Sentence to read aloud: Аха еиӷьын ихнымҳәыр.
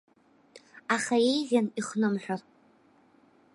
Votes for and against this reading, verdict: 2, 0, accepted